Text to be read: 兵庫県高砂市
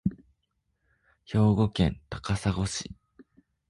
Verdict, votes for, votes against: accepted, 2, 0